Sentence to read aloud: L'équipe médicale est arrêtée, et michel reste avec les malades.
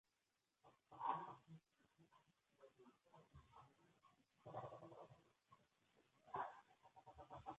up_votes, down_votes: 0, 2